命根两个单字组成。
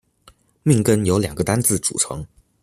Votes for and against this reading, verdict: 0, 2, rejected